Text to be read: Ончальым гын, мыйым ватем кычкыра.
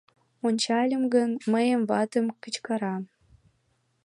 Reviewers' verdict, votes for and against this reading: accepted, 2, 0